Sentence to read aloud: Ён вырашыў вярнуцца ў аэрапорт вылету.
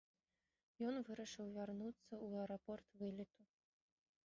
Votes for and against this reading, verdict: 1, 2, rejected